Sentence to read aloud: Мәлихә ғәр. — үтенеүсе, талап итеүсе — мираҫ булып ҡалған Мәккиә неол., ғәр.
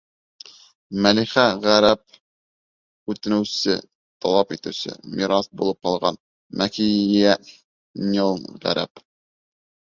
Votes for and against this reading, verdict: 1, 2, rejected